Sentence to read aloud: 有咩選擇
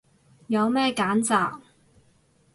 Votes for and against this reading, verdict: 0, 4, rejected